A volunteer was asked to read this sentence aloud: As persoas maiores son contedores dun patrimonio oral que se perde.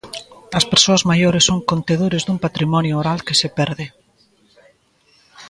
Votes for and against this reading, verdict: 0, 2, rejected